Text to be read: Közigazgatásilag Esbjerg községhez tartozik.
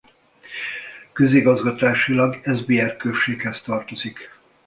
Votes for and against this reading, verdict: 2, 0, accepted